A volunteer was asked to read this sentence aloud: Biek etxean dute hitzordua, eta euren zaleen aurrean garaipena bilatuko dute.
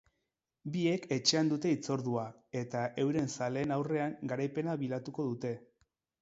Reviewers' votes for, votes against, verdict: 2, 0, accepted